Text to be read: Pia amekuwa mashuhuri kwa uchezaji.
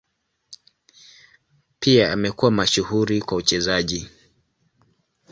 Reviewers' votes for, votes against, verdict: 2, 0, accepted